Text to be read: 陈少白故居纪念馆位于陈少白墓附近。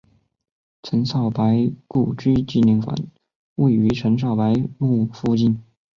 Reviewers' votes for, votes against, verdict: 4, 0, accepted